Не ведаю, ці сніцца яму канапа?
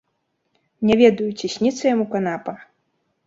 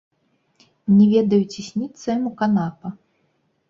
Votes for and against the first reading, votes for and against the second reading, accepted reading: 2, 0, 1, 2, first